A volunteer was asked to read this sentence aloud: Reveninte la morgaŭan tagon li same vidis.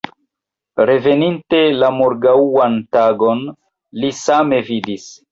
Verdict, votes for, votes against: rejected, 2, 3